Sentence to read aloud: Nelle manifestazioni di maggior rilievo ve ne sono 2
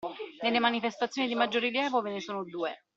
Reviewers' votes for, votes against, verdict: 0, 2, rejected